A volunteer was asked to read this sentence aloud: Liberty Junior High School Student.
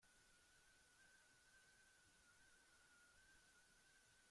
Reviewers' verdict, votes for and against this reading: rejected, 0, 3